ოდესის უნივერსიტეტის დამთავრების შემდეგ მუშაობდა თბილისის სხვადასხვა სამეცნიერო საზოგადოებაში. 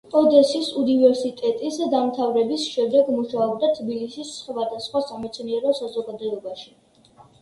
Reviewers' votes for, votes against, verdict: 2, 0, accepted